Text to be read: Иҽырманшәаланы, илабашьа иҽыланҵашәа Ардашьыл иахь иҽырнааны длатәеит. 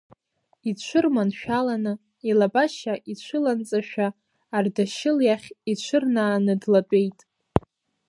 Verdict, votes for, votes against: rejected, 1, 2